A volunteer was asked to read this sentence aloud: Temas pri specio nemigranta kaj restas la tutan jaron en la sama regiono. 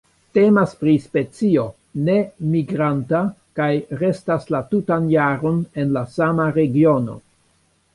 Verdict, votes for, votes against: rejected, 1, 2